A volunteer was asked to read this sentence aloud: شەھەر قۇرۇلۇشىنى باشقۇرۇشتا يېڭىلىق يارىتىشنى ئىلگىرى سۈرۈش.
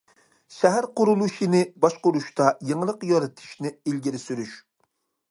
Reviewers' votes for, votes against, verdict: 2, 0, accepted